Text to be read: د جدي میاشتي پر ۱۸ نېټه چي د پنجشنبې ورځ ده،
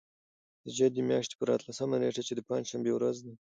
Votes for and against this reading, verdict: 0, 2, rejected